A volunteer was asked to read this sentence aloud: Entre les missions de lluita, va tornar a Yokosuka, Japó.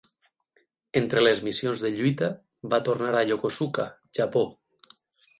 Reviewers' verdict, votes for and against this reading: accepted, 12, 0